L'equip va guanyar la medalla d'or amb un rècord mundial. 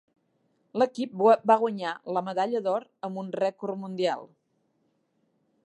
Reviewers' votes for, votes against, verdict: 0, 2, rejected